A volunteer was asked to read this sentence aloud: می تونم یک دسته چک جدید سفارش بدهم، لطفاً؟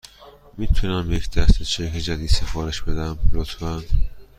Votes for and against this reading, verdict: 2, 0, accepted